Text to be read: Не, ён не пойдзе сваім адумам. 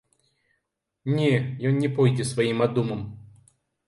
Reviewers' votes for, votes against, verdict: 2, 0, accepted